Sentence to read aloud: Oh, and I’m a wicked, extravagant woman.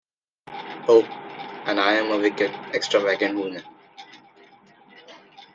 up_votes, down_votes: 2, 0